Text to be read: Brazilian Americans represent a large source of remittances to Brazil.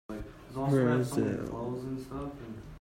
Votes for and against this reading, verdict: 0, 2, rejected